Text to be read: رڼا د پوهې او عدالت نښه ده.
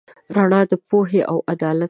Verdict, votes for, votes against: rejected, 1, 2